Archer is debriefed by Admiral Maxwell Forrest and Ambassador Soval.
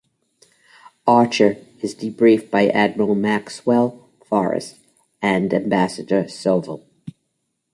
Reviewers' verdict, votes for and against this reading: accepted, 2, 1